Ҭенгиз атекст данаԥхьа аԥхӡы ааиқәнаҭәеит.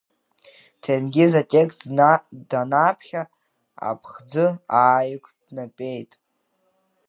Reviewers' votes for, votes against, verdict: 0, 2, rejected